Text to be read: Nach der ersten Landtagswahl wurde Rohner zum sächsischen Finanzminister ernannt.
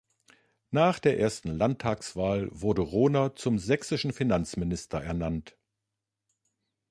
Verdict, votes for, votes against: accepted, 2, 0